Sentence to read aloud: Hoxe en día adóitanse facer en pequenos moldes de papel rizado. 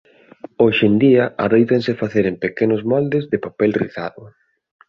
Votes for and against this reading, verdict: 2, 0, accepted